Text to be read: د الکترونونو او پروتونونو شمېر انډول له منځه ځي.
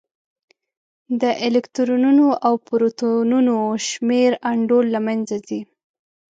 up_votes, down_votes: 1, 2